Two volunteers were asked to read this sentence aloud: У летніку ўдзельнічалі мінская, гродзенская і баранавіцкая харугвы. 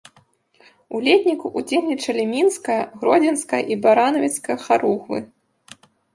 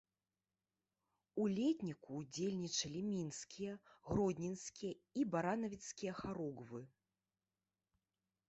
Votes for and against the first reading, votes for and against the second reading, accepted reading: 2, 1, 0, 2, first